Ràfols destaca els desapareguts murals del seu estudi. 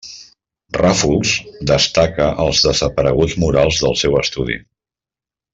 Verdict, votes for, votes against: accepted, 3, 0